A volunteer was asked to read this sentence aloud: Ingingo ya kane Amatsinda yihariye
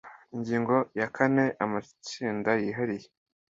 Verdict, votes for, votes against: accepted, 2, 0